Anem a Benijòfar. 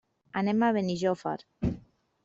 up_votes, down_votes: 3, 0